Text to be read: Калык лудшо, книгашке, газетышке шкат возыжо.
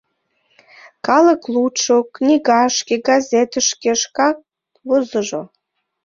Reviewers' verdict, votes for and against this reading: accepted, 2, 1